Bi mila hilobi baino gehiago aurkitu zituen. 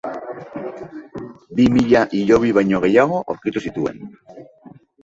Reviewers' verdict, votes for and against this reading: accepted, 2, 0